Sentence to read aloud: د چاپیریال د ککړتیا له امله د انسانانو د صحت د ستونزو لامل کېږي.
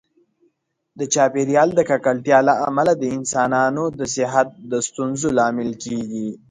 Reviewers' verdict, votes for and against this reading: accepted, 2, 0